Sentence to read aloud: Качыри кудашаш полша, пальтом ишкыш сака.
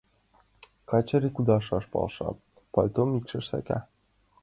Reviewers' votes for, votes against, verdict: 2, 1, accepted